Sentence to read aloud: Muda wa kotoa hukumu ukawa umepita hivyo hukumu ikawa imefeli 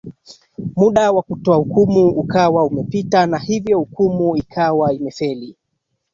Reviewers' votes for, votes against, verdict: 2, 1, accepted